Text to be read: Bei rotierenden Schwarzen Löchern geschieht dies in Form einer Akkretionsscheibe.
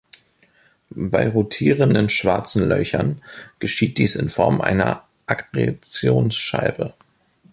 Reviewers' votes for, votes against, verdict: 1, 2, rejected